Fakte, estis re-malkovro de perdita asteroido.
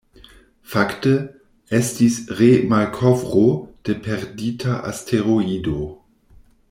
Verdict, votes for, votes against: accepted, 2, 0